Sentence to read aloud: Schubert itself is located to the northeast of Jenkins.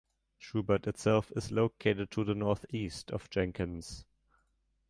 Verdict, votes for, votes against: accepted, 3, 0